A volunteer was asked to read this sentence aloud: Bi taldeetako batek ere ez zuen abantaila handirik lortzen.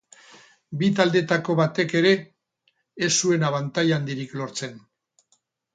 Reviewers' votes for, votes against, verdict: 4, 6, rejected